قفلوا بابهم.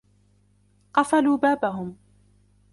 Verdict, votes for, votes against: accepted, 2, 1